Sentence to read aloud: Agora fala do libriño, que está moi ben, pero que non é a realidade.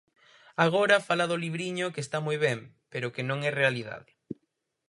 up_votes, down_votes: 0, 4